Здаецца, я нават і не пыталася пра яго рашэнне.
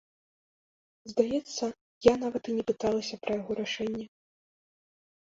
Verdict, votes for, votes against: accepted, 2, 0